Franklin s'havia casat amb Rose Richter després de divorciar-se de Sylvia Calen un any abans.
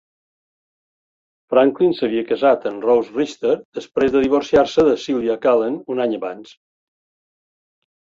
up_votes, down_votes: 2, 0